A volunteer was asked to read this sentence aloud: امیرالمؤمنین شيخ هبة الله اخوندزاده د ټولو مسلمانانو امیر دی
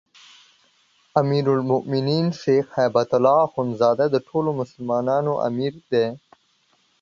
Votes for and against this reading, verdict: 2, 0, accepted